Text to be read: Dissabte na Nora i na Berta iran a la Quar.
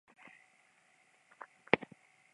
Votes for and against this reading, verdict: 0, 2, rejected